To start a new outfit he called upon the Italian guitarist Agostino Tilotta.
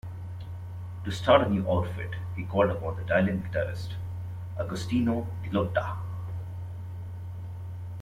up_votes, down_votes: 2, 0